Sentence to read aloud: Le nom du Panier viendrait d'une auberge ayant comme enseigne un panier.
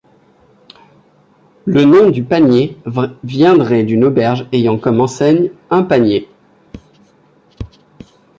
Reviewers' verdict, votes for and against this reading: rejected, 1, 2